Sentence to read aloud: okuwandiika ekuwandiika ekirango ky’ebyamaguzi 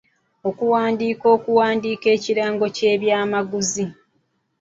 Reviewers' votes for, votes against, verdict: 1, 3, rejected